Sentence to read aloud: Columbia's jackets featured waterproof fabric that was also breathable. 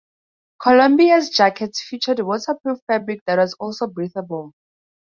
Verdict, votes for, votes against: accepted, 2, 0